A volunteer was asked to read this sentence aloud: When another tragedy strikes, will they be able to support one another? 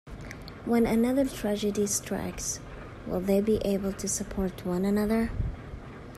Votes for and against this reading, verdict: 2, 0, accepted